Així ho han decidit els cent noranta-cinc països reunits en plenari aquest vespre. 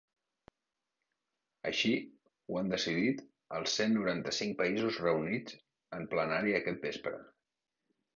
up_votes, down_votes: 2, 0